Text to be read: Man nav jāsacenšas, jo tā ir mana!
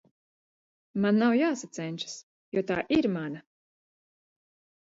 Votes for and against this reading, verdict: 2, 0, accepted